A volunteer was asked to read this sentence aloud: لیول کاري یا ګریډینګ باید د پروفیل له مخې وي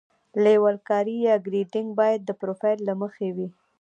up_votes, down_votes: 0, 2